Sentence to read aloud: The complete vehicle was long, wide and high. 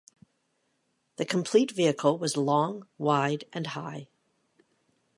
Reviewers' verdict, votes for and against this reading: accepted, 2, 0